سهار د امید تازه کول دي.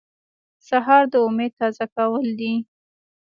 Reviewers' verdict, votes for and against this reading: accepted, 2, 0